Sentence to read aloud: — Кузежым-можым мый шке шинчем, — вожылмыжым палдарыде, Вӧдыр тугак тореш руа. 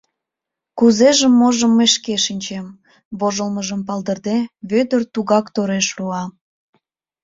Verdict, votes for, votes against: rejected, 0, 2